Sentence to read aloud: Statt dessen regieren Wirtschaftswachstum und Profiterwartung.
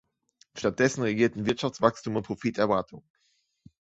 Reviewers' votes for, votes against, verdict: 0, 2, rejected